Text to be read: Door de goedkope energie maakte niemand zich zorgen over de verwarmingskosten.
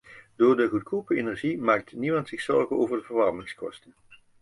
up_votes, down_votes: 0, 2